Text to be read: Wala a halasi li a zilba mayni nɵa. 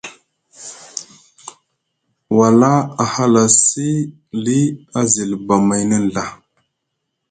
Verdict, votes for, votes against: accepted, 2, 0